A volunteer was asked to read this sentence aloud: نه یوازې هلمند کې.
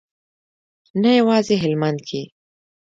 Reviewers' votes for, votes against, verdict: 2, 1, accepted